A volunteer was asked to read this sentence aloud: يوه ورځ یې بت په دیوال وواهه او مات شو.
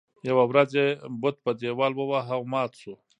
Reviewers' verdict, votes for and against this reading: rejected, 0, 2